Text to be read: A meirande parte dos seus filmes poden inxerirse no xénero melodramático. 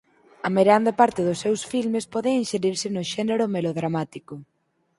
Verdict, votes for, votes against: accepted, 4, 2